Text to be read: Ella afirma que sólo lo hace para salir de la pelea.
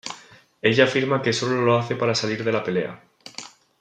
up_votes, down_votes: 2, 0